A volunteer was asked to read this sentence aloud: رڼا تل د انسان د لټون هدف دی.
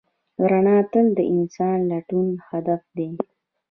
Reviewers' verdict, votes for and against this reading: accepted, 2, 0